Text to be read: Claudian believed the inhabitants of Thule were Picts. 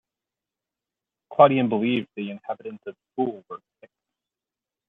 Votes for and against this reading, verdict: 0, 2, rejected